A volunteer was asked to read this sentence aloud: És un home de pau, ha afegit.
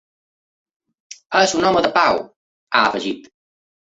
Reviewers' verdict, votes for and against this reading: accepted, 2, 0